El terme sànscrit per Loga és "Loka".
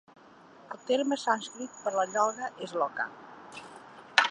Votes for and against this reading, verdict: 1, 2, rejected